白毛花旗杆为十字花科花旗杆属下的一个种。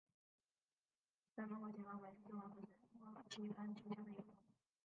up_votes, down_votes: 0, 4